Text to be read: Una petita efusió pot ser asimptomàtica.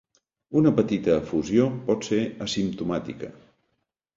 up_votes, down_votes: 2, 0